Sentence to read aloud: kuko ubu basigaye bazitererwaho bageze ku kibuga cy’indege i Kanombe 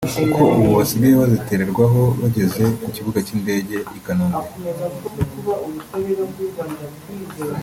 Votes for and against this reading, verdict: 1, 2, rejected